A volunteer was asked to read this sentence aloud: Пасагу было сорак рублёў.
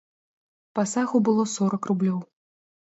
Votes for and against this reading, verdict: 3, 0, accepted